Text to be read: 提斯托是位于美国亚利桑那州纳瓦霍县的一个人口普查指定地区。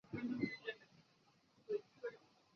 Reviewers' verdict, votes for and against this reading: rejected, 0, 2